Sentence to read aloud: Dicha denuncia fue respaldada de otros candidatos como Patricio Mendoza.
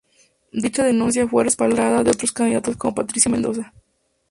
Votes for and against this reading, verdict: 2, 4, rejected